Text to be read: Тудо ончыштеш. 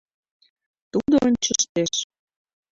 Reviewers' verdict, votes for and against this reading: rejected, 1, 2